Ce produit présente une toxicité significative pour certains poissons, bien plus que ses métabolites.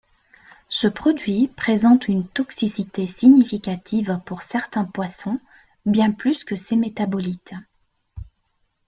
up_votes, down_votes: 2, 0